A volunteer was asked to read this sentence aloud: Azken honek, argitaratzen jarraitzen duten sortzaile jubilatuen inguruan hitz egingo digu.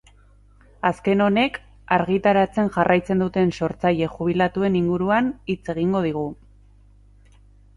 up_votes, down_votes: 2, 0